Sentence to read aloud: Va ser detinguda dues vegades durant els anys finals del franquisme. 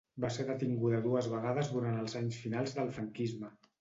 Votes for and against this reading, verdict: 2, 0, accepted